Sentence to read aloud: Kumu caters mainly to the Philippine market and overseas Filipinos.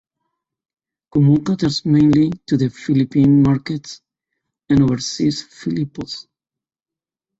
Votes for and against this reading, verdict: 1, 2, rejected